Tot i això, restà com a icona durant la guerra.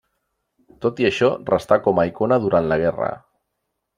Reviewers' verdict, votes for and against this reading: accepted, 3, 0